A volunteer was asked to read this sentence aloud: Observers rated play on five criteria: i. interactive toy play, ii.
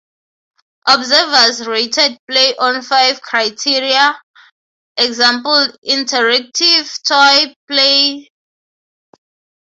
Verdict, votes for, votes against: rejected, 0, 3